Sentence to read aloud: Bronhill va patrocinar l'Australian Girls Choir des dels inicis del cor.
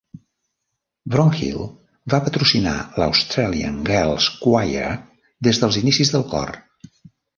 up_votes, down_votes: 0, 2